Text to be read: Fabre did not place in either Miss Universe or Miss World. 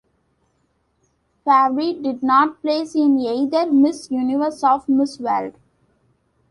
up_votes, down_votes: 2, 0